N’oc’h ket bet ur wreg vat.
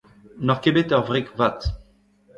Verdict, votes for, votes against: rejected, 1, 2